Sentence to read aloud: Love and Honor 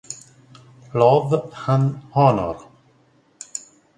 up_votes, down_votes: 0, 2